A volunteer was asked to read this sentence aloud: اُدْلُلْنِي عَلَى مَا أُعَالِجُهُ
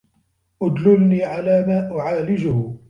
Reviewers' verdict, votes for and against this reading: accepted, 3, 2